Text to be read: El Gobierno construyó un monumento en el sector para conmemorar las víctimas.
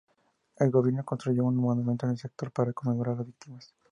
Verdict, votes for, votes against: accepted, 2, 0